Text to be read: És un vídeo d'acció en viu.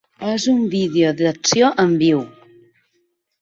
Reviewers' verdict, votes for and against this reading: accepted, 2, 1